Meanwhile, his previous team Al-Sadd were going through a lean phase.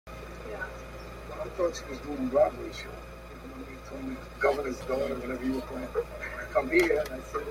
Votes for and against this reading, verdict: 0, 2, rejected